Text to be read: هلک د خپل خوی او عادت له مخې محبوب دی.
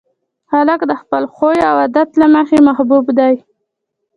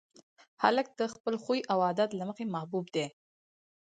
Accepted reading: second